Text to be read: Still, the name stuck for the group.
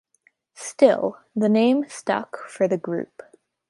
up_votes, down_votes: 2, 0